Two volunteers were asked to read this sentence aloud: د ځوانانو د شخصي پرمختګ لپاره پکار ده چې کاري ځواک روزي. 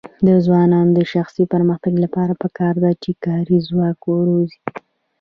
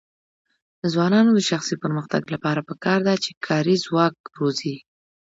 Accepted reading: second